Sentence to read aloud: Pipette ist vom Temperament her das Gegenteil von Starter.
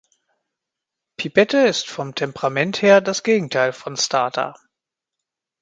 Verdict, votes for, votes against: accepted, 2, 0